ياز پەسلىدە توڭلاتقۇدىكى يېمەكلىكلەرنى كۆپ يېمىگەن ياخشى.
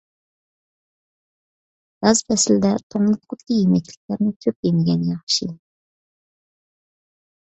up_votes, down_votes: 2, 0